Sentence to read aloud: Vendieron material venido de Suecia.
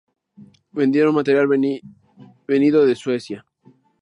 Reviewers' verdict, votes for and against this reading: rejected, 0, 2